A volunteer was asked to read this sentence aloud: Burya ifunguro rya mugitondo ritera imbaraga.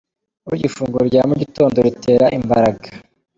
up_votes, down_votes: 1, 2